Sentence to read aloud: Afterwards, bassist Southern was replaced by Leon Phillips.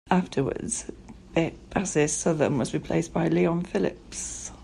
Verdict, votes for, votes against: rejected, 1, 2